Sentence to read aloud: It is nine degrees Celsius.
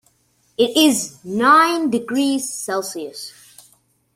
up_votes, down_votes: 2, 0